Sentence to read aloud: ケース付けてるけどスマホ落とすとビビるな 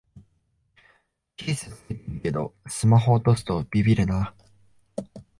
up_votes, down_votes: 2, 1